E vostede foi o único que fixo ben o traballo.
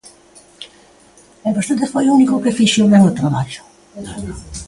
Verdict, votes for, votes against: rejected, 1, 2